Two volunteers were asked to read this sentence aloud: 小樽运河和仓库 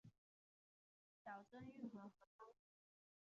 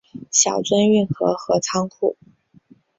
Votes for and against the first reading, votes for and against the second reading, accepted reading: 0, 2, 2, 0, second